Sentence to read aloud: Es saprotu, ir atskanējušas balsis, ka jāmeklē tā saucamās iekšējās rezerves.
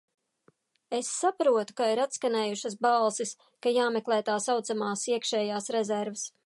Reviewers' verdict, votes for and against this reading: rejected, 0, 2